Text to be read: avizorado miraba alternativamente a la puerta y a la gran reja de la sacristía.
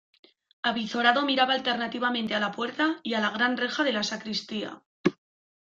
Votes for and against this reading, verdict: 2, 0, accepted